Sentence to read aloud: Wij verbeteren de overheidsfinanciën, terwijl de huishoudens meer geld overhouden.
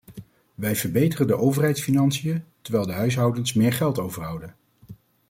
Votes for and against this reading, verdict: 2, 0, accepted